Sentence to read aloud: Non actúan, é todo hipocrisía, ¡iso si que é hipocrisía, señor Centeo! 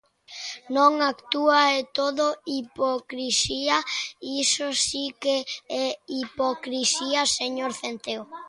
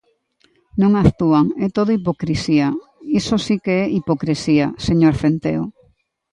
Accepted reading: second